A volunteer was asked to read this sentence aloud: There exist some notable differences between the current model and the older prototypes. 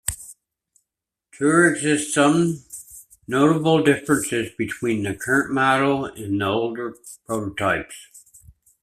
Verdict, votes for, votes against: rejected, 1, 2